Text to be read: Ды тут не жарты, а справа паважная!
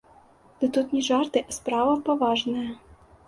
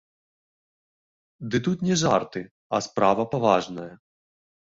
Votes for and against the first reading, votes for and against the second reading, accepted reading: 2, 0, 1, 2, first